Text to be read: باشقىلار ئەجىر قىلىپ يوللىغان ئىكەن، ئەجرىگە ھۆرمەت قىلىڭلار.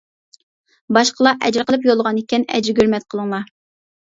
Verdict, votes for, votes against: accepted, 2, 1